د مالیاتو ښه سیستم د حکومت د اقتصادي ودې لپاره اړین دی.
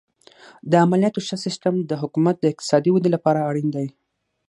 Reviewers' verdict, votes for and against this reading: accepted, 9, 0